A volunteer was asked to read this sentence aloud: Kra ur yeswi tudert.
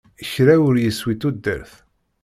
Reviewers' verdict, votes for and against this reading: rejected, 1, 2